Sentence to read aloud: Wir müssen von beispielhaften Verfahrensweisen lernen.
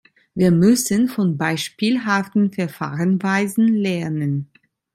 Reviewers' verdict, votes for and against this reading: rejected, 1, 2